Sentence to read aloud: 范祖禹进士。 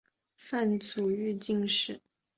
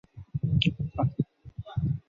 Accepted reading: first